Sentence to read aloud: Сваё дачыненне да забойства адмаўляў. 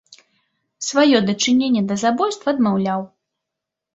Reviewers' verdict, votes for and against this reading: accepted, 2, 0